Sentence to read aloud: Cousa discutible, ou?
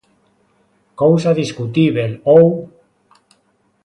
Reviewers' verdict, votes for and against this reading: rejected, 0, 2